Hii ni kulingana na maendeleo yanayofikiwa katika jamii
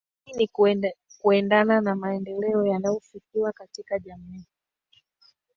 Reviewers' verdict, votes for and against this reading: rejected, 1, 2